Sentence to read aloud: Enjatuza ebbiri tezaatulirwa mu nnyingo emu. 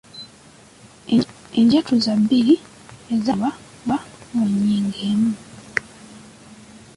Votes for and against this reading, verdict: 0, 2, rejected